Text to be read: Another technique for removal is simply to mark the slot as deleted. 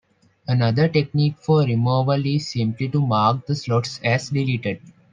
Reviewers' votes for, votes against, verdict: 0, 2, rejected